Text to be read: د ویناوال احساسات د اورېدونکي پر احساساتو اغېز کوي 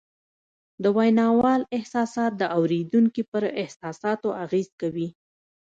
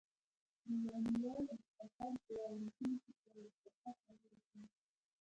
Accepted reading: first